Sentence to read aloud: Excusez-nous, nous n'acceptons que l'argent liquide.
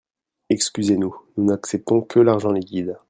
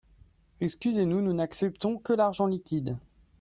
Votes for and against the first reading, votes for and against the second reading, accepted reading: 2, 0, 1, 2, first